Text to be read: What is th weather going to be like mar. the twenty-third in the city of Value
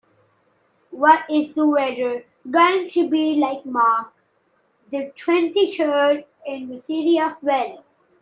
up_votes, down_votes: 0, 2